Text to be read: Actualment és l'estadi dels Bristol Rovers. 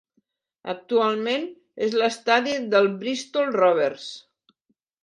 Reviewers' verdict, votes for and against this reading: rejected, 1, 2